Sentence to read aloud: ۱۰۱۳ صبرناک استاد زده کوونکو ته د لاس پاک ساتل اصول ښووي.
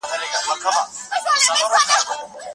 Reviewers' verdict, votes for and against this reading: rejected, 0, 2